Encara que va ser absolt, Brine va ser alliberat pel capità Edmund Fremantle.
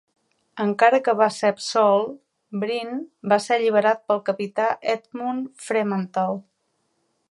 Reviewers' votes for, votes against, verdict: 2, 0, accepted